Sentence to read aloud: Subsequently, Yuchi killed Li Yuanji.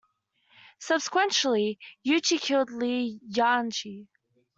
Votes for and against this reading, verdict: 1, 2, rejected